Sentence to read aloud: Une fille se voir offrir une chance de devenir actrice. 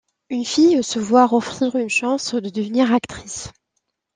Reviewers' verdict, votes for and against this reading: accepted, 2, 0